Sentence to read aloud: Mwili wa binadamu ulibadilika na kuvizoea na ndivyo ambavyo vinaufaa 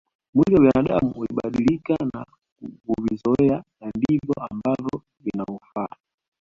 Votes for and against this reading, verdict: 2, 1, accepted